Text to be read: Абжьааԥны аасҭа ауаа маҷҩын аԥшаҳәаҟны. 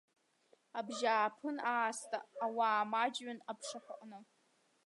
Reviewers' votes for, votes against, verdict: 0, 2, rejected